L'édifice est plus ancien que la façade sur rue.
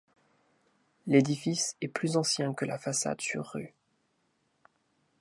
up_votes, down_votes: 2, 0